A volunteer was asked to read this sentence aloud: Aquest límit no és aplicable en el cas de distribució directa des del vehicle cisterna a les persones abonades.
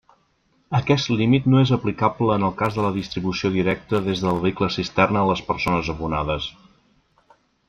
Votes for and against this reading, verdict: 1, 2, rejected